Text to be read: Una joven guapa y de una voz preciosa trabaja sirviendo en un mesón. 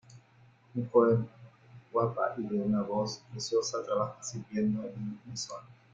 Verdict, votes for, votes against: rejected, 0, 2